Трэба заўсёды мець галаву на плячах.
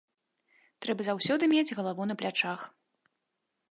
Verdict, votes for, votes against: accepted, 2, 0